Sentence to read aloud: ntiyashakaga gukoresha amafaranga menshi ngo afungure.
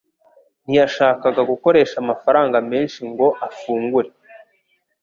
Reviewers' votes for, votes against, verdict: 2, 0, accepted